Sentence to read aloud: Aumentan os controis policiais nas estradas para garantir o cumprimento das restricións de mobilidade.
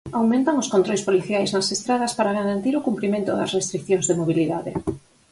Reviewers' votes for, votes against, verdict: 4, 2, accepted